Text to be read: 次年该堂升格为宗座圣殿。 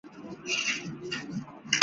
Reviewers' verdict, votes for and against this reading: rejected, 2, 5